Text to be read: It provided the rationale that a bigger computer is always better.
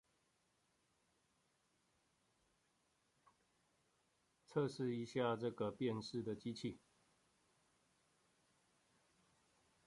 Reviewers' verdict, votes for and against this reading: rejected, 0, 2